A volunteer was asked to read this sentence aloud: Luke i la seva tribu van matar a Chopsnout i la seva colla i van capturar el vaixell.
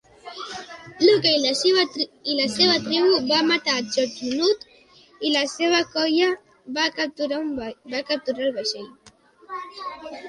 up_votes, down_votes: 1, 2